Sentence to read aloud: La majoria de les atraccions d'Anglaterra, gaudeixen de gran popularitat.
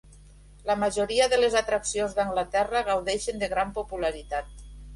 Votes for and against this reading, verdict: 4, 0, accepted